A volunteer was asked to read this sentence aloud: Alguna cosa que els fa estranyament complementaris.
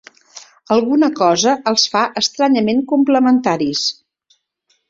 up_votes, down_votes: 0, 2